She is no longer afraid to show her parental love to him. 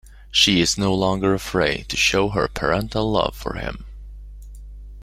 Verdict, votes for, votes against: rejected, 0, 2